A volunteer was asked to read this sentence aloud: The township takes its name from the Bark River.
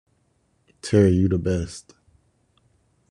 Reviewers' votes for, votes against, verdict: 0, 2, rejected